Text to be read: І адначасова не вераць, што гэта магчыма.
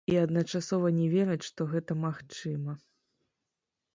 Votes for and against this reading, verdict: 1, 2, rejected